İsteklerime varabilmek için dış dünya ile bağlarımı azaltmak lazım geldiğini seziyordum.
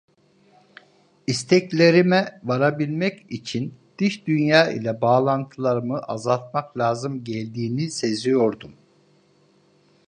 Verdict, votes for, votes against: rejected, 0, 2